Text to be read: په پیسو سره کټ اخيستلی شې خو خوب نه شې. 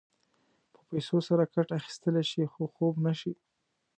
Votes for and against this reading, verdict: 2, 0, accepted